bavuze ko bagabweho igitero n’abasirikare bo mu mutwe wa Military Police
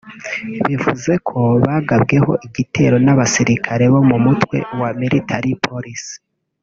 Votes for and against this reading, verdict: 1, 2, rejected